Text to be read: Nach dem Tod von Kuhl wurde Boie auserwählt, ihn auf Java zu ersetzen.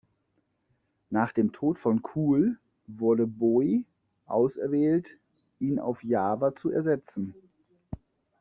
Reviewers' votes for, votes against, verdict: 1, 2, rejected